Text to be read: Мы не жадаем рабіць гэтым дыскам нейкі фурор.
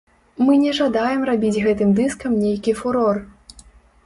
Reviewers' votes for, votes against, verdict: 2, 0, accepted